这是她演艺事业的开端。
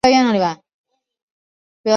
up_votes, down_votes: 0, 2